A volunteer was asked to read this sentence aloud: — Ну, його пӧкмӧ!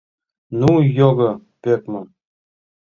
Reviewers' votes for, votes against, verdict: 2, 0, accepted